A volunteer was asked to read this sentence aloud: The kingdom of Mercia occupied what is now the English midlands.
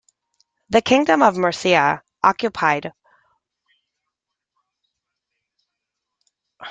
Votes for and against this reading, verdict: 0, 3, rejected